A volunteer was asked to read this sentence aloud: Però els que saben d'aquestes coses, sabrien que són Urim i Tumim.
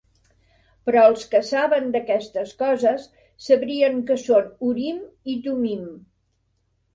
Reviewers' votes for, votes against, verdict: 2, 0, accepted